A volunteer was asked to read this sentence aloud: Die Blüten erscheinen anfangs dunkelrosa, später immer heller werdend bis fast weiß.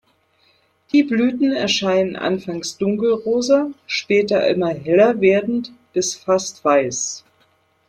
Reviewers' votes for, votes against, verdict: 0, 2, rejected